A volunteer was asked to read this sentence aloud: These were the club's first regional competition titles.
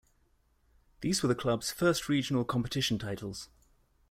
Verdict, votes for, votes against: accepted, 2, 1